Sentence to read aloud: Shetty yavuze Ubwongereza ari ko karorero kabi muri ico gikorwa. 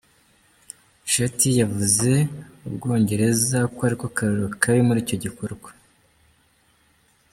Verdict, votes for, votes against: rejected, 0, 2